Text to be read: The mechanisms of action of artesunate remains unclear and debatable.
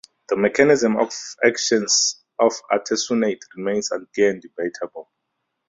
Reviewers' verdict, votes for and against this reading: rejected, 0, 2